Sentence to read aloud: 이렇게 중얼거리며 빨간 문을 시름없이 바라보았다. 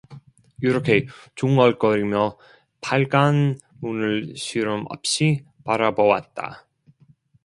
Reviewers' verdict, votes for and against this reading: rejected, 0, 2